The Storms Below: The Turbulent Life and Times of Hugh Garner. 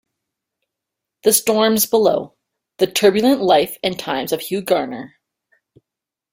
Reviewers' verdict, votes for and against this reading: accepted, 2, 0